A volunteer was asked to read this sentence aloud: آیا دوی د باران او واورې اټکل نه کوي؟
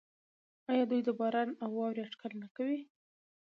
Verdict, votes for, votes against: accepted, 2, 0